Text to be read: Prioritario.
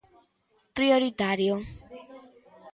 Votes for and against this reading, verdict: 2, 0, accepted